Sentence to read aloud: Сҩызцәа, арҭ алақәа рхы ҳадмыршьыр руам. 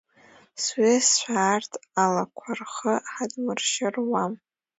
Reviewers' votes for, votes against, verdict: 2, 0, accepted